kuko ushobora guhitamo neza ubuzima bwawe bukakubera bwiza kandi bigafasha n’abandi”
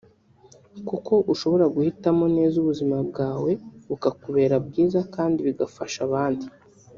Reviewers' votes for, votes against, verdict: 1, 2, rejected